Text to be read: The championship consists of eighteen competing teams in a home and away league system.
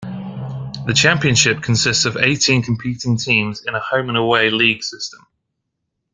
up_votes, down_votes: 2, 0